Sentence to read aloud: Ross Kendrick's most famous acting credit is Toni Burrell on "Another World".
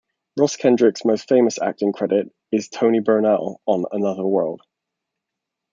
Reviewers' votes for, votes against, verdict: 1, 2, rejected